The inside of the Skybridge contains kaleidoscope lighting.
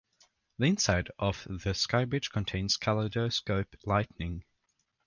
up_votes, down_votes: 1, 2